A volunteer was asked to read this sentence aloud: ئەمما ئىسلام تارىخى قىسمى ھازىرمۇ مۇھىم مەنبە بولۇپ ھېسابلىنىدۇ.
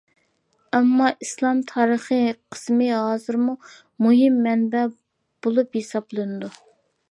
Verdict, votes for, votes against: accepted, 2, 0